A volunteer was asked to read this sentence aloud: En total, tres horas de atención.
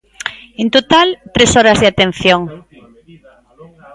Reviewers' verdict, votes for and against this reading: rejected, 0, 2